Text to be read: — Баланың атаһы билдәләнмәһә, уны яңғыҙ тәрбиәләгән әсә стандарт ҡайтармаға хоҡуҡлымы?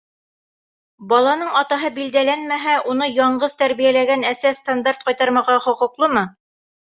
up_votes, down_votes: 2, 0